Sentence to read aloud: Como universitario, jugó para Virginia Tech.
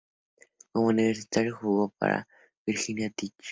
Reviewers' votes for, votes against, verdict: 2, 0, accepted